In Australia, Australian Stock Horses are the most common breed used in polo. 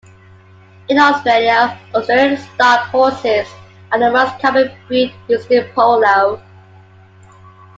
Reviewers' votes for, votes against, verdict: 2, 1, accepted